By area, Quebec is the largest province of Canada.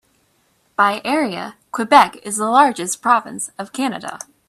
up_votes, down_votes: 2, 0